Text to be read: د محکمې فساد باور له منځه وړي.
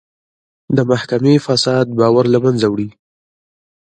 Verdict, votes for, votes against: rejected, 0, 2